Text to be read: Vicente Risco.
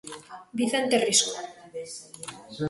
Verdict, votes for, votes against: accepted, 2, 0